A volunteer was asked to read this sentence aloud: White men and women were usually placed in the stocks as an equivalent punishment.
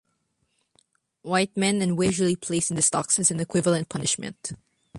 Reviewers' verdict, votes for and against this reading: rejected, 1, 2